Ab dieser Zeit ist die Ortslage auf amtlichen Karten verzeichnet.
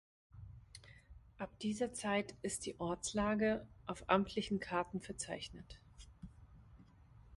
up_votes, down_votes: 2, 0